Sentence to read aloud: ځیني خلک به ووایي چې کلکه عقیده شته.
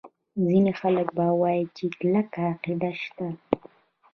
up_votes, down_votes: 1, 2